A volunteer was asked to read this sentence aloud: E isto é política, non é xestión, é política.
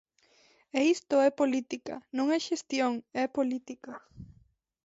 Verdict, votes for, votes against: accepted, 2, 1